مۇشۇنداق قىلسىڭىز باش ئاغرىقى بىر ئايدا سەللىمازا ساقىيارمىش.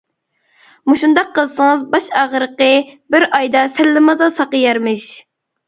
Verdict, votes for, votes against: accepted, 2, 0